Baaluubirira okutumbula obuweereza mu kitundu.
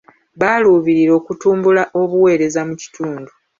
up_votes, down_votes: 2, 0